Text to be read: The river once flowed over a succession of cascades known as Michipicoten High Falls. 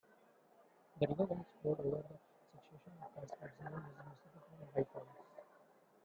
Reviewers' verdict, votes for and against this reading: rejected, 0, 2